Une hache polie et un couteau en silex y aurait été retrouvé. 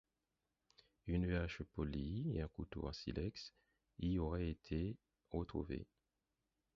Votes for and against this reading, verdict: 2, 4, rejected